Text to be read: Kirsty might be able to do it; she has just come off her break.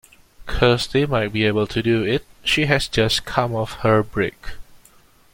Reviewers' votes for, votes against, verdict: 2, 0, accepted